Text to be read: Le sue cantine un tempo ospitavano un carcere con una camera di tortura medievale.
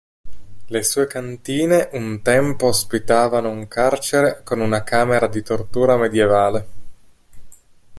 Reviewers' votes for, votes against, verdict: 3, 0, accepted